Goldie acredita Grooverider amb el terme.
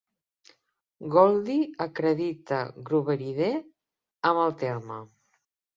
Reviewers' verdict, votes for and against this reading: accepted, 2, 0